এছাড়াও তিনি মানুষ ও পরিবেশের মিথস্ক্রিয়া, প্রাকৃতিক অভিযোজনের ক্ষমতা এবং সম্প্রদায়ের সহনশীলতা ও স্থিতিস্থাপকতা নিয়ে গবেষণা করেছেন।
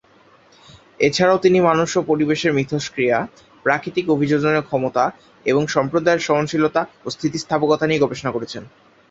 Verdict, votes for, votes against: rejected, 0, 2